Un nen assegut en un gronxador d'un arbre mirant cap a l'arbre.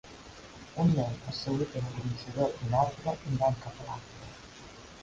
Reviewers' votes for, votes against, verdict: 0, 2, rejected